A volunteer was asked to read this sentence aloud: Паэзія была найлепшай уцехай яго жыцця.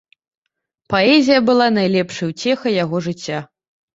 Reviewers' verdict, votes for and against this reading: accepted, 2, 0